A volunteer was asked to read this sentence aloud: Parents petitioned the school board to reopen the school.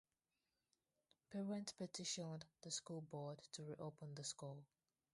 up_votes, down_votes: 0, 2